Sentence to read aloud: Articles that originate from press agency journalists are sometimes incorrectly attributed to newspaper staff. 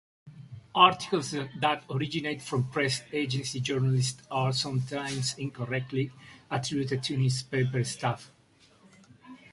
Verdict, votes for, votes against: rejected, 0, 2